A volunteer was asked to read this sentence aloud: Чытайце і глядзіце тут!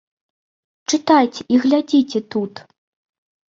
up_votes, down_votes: 2, 0